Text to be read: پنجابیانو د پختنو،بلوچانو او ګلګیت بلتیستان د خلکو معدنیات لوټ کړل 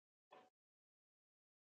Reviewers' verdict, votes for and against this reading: rejected, 0, 2